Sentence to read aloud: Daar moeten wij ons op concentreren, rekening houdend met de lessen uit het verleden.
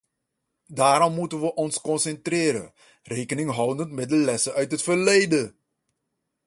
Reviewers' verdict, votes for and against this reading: rejected, 1, 2